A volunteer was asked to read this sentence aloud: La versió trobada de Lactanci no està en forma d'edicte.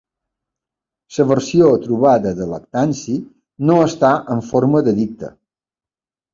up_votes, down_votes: 0, 2